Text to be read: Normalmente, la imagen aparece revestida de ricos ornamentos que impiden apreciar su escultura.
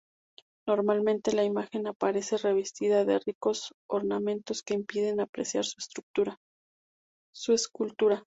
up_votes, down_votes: 0, 4